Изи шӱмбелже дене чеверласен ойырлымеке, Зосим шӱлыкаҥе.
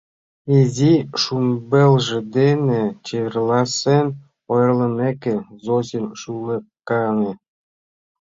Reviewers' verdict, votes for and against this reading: rejected, 0, 2